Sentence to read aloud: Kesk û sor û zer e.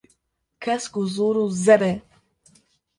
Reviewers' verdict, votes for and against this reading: rejected, 1, 2